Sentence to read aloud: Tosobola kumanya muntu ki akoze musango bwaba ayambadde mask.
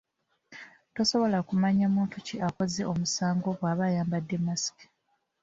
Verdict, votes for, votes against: rejected, 0, 2